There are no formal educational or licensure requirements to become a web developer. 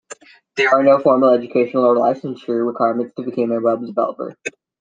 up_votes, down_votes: 2, 1